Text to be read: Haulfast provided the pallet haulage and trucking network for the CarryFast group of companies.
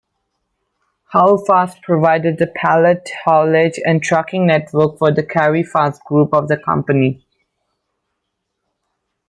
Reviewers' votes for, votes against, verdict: 1, 2, rejected